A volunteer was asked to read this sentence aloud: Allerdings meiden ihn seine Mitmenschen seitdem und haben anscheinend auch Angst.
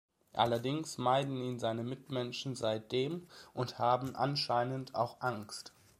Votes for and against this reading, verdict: 2, 0, accepted